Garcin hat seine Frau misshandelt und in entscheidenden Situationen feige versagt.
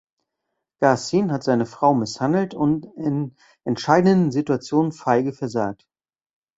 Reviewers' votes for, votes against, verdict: 1, 2, rejected